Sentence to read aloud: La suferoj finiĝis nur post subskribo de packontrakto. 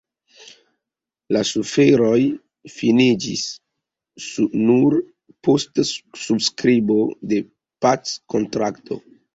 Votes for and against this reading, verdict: 2, 3, rejected